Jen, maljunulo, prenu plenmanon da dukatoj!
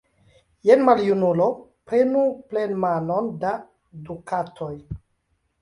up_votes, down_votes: 2, 1